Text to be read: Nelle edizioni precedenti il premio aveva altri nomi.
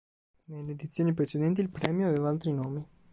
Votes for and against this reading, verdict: 2, 0, accepted